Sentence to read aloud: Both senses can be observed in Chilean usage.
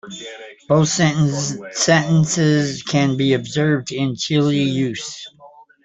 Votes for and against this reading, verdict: 0, 2, rejected